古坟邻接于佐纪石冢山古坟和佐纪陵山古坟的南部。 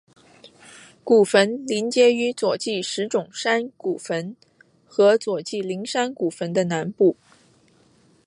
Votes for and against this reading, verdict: 5, 0, accepted